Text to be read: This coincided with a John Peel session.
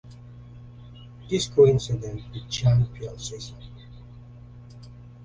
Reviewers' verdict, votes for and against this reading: rejected, 0, 2